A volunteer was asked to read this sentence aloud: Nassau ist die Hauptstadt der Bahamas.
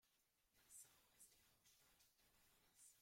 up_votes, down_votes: 1, 2